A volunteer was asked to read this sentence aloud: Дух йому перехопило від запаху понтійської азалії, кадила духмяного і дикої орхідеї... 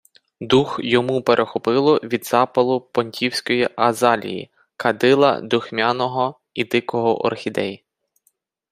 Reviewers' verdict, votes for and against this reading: rejected, 0, 4